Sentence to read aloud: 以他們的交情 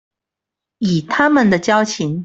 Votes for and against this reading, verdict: 2, 0, accepted